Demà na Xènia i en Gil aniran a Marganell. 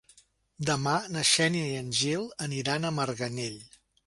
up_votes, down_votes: 4, 0